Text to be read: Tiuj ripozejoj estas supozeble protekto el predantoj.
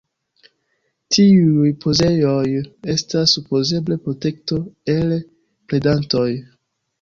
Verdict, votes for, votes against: accepted, 2, 0